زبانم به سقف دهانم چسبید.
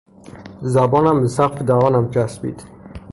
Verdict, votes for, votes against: rejected, 0, 3